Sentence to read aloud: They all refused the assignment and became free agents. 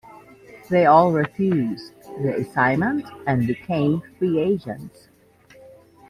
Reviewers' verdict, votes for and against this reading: accepted, 2, 0